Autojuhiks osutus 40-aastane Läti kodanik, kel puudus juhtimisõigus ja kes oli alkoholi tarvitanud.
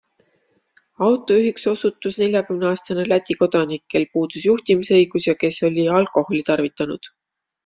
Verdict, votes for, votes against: rejected, 0, 2